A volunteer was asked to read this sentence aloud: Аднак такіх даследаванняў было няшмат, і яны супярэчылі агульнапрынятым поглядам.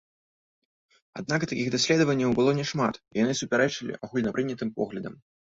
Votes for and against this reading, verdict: 2, 0, accepted